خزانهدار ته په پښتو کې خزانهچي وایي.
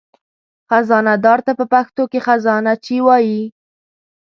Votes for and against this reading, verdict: 2, 0, accepted